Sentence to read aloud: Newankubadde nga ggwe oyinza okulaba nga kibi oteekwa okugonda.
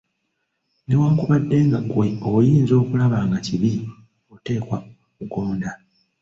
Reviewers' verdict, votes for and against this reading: rejected, 1, 2